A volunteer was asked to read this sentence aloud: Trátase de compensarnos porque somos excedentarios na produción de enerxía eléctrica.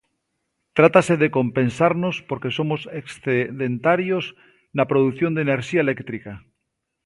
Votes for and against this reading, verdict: 2, 0, accepted